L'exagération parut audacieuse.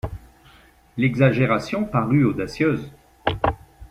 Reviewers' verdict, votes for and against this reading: accepted, 2, 0